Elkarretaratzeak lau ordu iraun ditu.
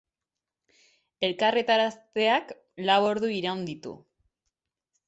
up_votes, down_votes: 0, 4